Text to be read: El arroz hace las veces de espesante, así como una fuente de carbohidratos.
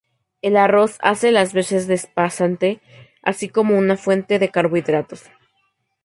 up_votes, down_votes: 0, 2